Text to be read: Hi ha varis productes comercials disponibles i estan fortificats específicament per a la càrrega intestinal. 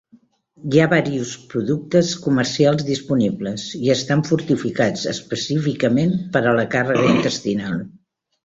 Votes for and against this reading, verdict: 0, 2, rejected